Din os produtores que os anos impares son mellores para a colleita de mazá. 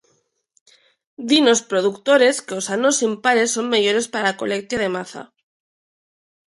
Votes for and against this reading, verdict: 0, 2, rejected